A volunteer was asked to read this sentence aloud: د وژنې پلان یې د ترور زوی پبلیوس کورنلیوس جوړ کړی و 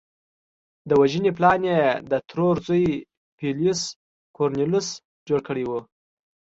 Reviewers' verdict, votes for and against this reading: accepted, 2, 0